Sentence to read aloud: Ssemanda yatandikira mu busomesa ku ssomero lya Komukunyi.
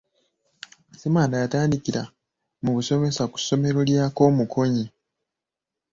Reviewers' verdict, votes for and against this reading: rejected, 1, 2